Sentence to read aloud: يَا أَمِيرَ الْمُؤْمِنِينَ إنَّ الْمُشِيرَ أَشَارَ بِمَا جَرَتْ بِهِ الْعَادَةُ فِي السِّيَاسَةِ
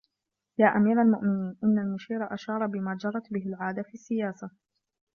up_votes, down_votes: 2, 1